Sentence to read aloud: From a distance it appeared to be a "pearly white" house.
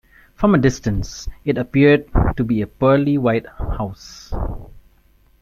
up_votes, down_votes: 4, 1